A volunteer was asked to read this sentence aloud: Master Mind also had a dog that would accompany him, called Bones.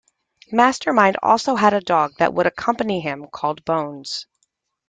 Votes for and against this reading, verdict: 2, 0, accepted